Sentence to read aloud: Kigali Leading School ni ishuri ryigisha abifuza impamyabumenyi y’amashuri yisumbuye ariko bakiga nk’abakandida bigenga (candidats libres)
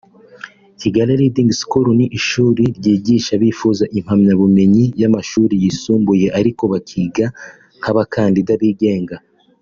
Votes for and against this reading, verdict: 0, 2, rejected